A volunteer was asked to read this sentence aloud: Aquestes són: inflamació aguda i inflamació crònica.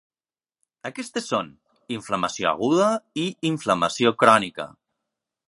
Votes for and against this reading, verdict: 3, 1, accepted